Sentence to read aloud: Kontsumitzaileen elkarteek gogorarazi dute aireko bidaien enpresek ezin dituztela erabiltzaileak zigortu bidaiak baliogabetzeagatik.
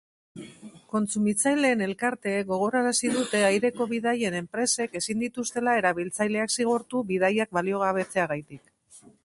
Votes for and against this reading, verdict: 0, 2, rejected